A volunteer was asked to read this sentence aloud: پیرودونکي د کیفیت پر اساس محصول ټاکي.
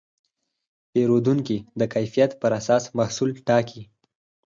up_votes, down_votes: 0, 4